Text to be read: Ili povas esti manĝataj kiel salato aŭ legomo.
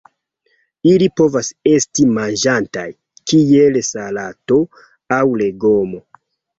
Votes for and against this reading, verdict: 0, 2, rejected